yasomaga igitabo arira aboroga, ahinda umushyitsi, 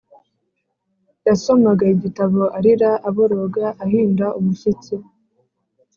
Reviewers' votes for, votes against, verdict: 3, 0, accepted